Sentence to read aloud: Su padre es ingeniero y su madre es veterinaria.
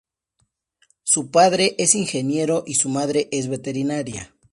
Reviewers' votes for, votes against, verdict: 2, 0, accepted